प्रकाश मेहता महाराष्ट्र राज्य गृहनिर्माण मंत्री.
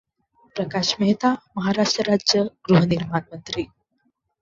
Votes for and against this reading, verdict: 0, 2, rejected